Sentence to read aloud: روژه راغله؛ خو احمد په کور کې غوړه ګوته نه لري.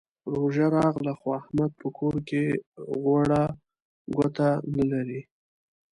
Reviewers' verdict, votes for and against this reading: accepted, 2, 0